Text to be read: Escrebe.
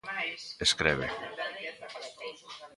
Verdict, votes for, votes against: rejected, 0, 2